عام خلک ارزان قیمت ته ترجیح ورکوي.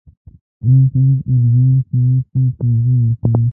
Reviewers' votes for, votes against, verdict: 0, 2, rejected